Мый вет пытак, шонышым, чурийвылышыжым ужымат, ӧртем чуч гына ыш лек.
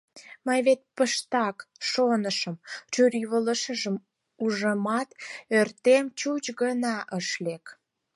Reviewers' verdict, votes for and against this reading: rejected, 2, 4